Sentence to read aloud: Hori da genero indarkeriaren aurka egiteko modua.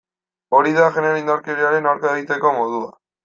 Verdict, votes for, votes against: accepted, 2, 0